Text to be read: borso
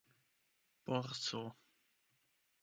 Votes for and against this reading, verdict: 0, 8, rejected